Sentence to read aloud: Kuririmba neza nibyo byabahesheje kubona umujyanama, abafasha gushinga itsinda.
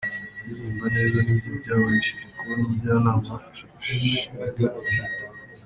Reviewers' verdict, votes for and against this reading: accepted, 2, 1